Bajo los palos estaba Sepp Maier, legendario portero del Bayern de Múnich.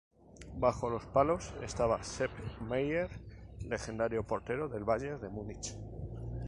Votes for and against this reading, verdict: 2, 0, accepted